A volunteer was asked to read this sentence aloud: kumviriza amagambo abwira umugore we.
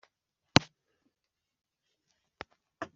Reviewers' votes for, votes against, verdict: 1, 2, rejected